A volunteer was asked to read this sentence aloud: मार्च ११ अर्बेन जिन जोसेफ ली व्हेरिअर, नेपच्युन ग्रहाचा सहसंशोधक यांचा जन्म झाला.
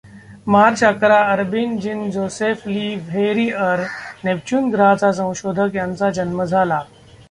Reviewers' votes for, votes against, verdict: 0, 2, rejected